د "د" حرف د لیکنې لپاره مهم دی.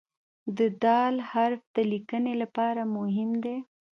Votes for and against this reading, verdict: 1, 2, rejected